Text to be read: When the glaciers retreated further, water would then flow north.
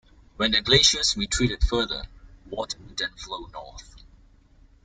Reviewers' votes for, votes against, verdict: 2, 1, accepted